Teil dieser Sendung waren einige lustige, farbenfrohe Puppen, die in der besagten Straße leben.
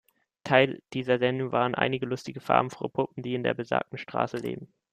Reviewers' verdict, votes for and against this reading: accepted, 2, 0